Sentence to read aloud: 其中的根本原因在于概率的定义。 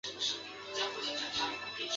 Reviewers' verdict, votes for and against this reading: rejected, 0, 2